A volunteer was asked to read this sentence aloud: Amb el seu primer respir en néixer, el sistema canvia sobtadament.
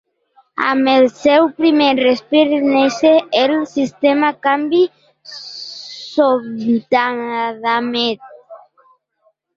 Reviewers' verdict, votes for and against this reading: rejected, 0, 2